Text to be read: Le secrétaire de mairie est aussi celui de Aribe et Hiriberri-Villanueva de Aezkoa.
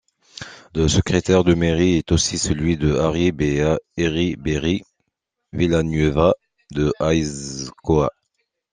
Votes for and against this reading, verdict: 1, 2, rejected